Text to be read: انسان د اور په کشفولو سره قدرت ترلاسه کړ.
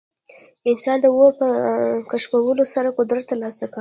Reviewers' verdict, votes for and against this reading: rejected, 1, 2